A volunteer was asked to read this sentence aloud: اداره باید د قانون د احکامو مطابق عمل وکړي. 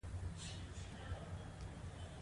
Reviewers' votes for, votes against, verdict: 1, 2, rejected